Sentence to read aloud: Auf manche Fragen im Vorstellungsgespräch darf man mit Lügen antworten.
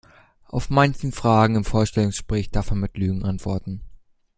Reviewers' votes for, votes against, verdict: 1, 2, rejected